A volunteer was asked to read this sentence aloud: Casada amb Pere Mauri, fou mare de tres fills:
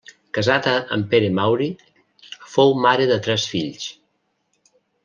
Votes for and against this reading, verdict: 3, 0, accepted